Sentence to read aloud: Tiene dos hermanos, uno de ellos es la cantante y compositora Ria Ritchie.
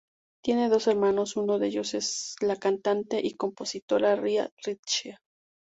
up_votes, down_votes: 2, 2